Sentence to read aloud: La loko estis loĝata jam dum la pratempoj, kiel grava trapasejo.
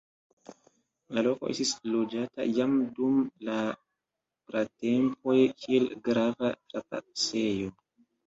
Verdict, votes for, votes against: accepted, 2, 1